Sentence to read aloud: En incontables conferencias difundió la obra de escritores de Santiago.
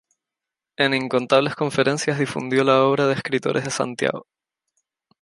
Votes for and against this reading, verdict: 4, 0, accepted